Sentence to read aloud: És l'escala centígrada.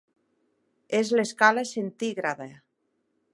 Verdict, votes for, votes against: accepted, 3, 0